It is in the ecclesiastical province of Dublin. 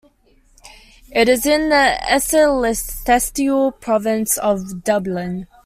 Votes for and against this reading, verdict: 0, 2, rejected